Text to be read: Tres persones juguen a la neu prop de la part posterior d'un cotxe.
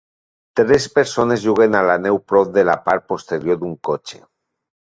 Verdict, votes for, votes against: accepted, 3, 0